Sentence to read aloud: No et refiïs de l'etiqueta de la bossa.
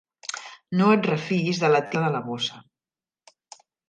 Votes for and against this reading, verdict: 0, 2, rejected